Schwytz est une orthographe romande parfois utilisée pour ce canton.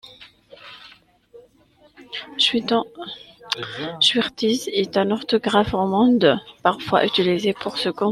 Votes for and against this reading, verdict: 0, 2, rejected